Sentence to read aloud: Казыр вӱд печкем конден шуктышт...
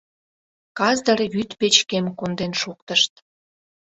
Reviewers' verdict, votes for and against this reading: accepted, 2, 0